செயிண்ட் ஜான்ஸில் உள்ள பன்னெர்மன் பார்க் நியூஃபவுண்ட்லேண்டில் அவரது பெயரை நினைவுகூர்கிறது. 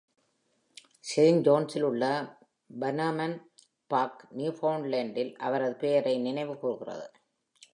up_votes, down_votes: 2, 0